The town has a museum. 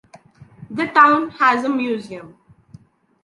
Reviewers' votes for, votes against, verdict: 3, 0, accepted